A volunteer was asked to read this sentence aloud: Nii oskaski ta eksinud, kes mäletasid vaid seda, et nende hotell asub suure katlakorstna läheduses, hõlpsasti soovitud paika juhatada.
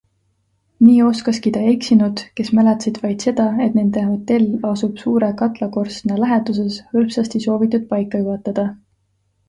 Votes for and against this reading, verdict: 2, 0, accepted